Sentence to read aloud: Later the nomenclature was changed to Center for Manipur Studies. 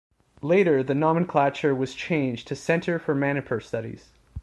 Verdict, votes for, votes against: accepted, 2, 0